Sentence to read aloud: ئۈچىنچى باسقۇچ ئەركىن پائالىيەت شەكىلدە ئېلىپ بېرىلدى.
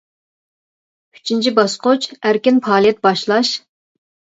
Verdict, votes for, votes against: rejected, 0, 2